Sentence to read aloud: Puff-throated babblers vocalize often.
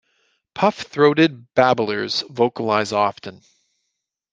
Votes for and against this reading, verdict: 2, 0, accepted